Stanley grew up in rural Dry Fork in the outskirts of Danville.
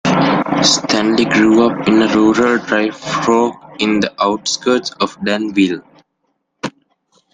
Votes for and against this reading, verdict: 2, 1, accepted